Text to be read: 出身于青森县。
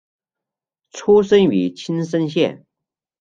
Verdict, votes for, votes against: accepted, 2, 0